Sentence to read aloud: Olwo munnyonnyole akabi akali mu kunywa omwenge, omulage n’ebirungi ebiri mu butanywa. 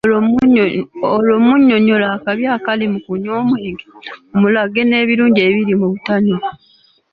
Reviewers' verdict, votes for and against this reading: accepted, 2, 0